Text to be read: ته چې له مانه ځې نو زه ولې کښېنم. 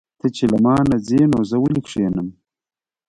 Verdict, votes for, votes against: accepted, 2, 0